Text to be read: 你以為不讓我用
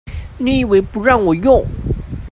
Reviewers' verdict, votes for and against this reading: accepted, 2, 0